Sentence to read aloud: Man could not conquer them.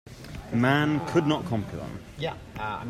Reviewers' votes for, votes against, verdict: 0, 2, rejected